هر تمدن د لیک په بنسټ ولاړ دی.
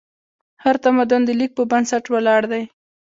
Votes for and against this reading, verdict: 2, 1, accepted